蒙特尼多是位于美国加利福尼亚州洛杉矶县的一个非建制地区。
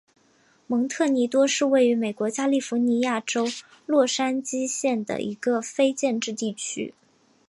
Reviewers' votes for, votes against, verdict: 6, 1, accepted